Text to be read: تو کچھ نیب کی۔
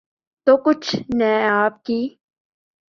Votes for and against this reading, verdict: 2, 3, rejected